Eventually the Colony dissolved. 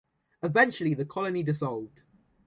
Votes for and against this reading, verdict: 2, 0, accepted